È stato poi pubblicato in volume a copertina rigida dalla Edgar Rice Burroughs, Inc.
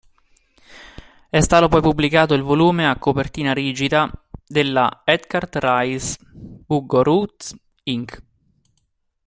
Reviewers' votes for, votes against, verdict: 0, 2, rejected